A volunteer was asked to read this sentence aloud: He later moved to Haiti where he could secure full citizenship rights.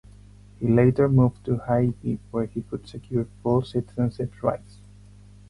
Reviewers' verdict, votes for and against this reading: rejected, 2, 4